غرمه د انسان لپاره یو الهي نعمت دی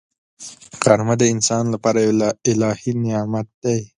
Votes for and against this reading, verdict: 2, 0, accepted